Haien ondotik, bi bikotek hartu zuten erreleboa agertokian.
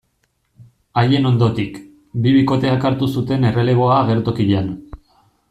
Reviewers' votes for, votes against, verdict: 1, 2, rejected